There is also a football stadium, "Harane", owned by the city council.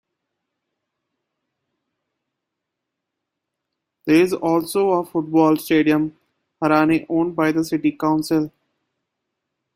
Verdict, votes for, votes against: accepted, 2, 0